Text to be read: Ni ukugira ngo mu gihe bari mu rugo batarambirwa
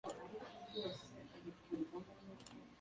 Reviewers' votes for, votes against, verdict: 1, 2, rejected